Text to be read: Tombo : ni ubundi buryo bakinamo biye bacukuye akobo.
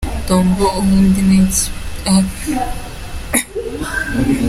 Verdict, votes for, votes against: rejected, 0, 3